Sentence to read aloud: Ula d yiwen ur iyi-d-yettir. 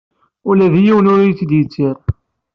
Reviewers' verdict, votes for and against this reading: accepted, 2, 0